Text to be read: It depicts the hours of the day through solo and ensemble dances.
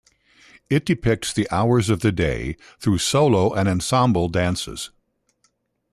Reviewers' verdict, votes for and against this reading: rejected, 0, 2